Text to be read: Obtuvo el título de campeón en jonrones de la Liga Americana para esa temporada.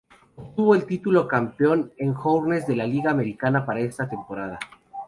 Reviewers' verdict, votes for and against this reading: rejected, 2, 2